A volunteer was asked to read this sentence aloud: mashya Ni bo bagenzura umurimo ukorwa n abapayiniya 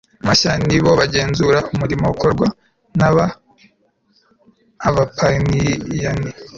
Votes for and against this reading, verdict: 1, 2, rejected